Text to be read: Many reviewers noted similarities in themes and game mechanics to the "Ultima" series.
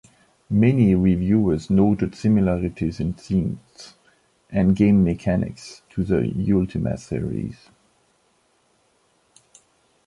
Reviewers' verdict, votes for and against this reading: accepted, 2, 0